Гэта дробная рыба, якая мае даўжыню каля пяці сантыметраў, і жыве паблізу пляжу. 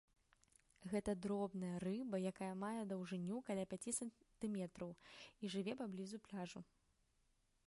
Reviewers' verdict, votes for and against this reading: accepted, 2, 1